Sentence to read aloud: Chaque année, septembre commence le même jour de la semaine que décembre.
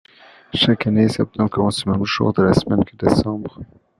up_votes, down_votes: 2, 0